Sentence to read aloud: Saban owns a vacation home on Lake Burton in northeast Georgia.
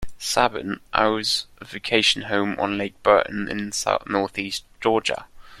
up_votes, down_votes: 1, 2